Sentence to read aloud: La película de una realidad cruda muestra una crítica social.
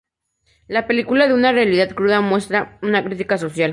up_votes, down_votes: 0, 2